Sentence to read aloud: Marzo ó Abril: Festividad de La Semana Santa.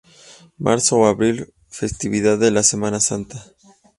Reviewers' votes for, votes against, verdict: 2, 0, accepted